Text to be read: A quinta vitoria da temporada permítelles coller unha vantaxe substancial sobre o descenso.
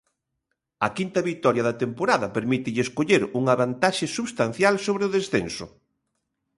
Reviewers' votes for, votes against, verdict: 2, 0, accepted